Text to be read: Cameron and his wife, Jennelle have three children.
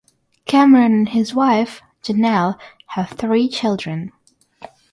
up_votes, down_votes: 0, 6